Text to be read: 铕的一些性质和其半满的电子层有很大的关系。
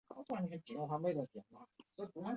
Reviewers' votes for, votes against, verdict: 0, 4, rejected